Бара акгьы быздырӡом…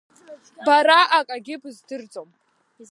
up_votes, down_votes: 0, 2